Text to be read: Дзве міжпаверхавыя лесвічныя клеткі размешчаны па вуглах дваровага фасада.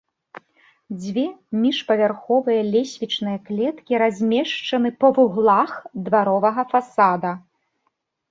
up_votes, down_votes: 1, 2